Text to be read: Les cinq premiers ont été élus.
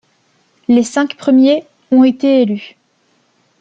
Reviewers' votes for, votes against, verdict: 2, 0, accepted